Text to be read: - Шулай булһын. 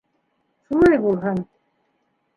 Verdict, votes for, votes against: accepted, 2, 1